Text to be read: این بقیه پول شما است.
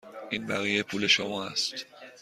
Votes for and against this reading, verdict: 2, 0, accepted